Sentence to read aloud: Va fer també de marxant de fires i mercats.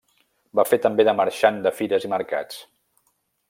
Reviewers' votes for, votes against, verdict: 3, 0, accepted